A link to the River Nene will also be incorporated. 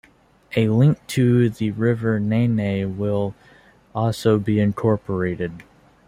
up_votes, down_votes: 1, 2